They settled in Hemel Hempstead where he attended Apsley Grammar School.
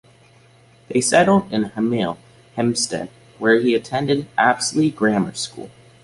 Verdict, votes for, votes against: accepted, 2, 0